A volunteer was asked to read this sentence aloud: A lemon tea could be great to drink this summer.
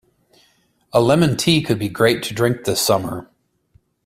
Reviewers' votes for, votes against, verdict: 2, 1, accepted